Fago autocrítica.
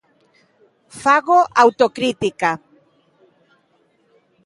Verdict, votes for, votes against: accepted, 2, 1